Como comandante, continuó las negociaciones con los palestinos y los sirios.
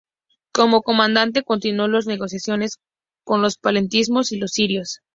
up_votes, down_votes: 2, 0